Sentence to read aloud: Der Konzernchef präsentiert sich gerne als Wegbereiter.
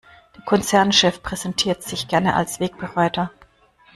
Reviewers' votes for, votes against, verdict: 0, 2, rejected